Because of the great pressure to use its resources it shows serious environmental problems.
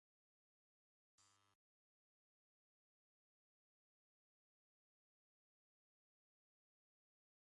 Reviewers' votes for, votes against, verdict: 0, 2, rejected